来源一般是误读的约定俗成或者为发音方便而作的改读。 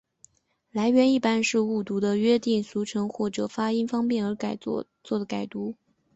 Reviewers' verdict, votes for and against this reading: rejected, 0, 3